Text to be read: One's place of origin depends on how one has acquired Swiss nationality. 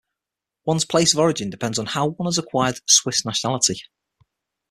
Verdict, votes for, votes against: accepted, 6, 0